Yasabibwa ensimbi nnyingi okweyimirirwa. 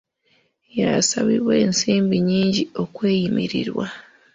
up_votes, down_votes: 0, 2